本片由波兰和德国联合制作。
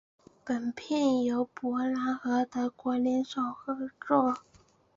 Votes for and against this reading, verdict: 1, 2, rejected